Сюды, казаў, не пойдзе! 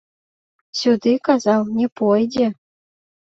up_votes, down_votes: 2, 0